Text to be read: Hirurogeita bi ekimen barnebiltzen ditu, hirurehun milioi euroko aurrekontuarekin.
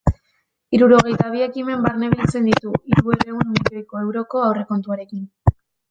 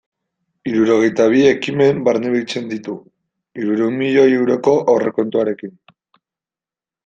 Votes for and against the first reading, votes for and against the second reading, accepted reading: 1, 2, 2, 0, second